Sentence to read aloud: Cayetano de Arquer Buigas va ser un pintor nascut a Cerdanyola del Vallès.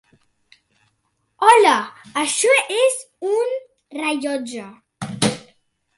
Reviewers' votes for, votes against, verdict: 0, 3, rejected